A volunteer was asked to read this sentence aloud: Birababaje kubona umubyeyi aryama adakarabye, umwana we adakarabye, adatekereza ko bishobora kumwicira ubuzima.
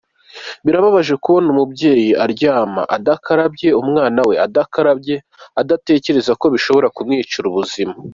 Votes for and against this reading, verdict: 1, 2, rejected